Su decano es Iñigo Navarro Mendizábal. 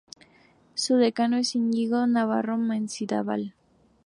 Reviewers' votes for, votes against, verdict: 0, 2, rejected